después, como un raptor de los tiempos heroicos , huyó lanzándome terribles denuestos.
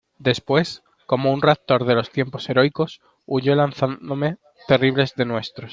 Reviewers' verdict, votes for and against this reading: rejected, 0, 2